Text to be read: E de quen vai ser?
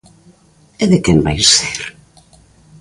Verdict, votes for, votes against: accepted, 2, 0